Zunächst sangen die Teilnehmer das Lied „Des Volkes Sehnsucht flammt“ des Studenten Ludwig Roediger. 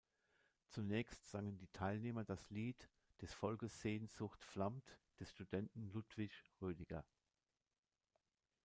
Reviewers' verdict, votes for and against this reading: accepted, 2, 0